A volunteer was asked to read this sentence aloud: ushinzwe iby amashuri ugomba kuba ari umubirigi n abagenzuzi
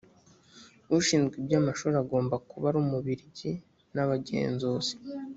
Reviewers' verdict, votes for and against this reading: accepted, 2, 0